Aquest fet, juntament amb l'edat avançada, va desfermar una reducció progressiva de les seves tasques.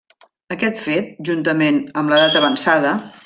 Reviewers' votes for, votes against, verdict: 0, 2, rejected